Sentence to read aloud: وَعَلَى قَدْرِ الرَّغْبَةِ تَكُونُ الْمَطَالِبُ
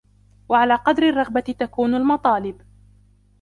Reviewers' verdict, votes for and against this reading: accepted, 2, 1